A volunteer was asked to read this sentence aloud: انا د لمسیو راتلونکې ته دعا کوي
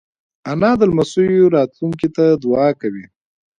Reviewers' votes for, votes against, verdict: 2, 1, accepted